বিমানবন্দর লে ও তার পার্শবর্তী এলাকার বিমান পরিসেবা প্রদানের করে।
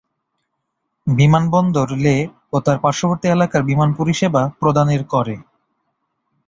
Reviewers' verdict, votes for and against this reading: accepted, 4, 0